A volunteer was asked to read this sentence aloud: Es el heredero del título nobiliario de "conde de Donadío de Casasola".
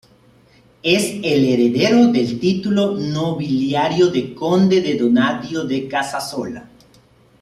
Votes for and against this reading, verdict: 2, 3, rejected